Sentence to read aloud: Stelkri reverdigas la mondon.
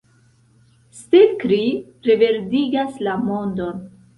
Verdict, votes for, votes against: accepted, 2, 0